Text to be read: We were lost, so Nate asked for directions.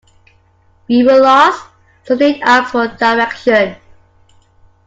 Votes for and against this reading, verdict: 2, 0, accepted